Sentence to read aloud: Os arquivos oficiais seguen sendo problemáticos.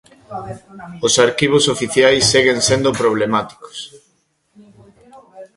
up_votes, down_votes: 2, 0